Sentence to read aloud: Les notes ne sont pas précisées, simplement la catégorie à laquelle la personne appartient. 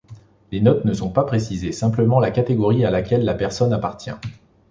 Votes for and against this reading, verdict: 2, 0, accepted